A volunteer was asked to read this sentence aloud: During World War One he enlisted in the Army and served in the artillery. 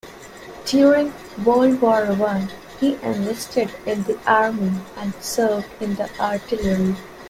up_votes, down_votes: 2, 0